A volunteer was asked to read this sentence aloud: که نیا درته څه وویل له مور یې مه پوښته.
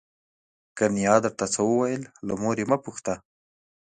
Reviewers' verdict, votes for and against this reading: rejected, 1, 2